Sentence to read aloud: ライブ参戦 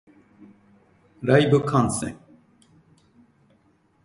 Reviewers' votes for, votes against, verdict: 1, 2, rejected